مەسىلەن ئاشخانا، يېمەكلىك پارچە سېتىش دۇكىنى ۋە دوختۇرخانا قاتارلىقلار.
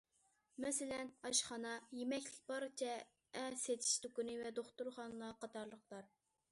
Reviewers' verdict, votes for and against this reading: rejected, 0, 2